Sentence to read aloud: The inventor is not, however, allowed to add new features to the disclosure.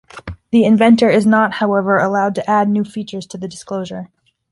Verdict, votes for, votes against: accepted, 2, 0